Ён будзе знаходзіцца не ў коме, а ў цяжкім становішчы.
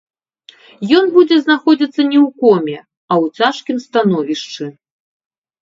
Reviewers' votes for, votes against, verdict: 1, 2, rejected